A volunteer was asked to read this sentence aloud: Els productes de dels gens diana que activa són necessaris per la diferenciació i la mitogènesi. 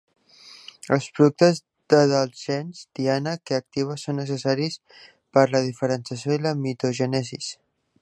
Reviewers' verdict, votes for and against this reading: rejected, 1, 2